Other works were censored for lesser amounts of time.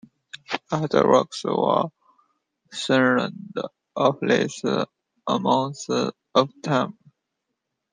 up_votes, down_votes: 0, 2